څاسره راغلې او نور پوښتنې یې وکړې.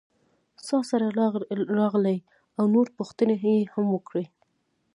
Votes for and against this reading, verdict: 2, 1, accepted